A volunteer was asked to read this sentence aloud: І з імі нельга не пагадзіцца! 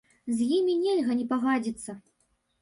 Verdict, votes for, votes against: rejected, 1, 2